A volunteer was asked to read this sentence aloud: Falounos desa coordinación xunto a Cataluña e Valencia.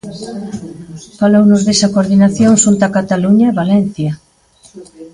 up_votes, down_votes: 1, 2